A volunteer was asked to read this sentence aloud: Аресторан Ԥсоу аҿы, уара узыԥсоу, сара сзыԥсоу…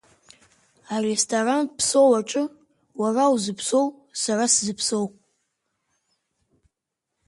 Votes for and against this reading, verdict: 4, 0, accepted